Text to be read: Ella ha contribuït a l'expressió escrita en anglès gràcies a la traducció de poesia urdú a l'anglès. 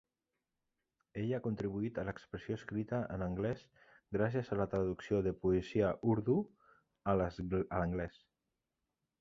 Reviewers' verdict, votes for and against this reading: rejected, 0, 2